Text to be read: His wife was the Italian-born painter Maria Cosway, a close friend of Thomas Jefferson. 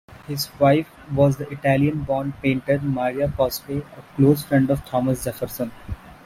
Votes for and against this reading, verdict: 0, 2, rejected